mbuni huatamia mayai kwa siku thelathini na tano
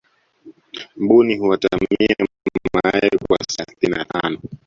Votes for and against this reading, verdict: 0, 2, rejected